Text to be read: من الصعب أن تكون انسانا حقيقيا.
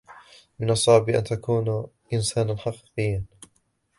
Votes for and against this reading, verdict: 0, 2, rejected